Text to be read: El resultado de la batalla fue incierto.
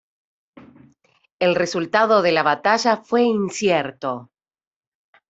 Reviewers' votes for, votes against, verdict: 2, 0, accepted